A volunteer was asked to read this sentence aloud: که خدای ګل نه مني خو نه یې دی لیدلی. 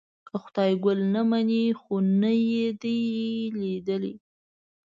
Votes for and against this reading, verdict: 1, 2, rejected